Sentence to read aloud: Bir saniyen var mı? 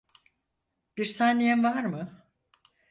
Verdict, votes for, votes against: accepted, 4, 0